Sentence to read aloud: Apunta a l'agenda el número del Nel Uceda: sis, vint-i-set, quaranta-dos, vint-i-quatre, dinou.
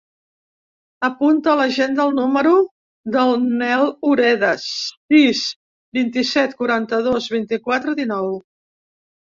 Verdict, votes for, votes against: rejected, 1, 2